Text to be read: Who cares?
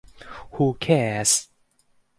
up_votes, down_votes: 4, 0